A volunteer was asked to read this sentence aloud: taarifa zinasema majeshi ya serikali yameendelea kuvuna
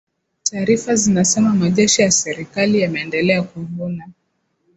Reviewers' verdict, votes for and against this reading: accepted, 4, 2